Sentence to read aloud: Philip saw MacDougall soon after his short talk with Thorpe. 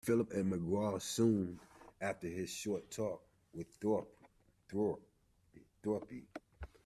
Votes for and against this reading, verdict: 0, 2, rejected